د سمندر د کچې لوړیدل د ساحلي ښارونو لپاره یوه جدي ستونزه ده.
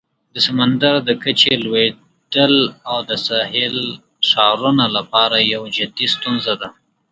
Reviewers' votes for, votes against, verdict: 2, 1, accepted